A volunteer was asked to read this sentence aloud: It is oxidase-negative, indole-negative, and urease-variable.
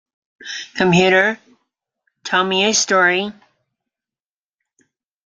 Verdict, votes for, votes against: rejected, 0, 2